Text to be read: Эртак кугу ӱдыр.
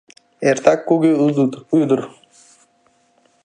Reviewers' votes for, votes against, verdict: 0, 2, rejected